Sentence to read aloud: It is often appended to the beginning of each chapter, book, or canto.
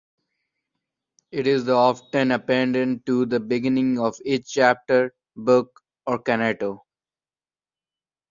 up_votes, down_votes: 1, 2